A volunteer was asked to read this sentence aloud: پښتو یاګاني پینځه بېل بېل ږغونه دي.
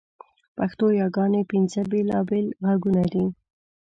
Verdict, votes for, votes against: accepted, 2, 0